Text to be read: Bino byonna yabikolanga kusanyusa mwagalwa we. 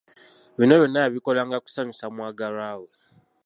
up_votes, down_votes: 2, 0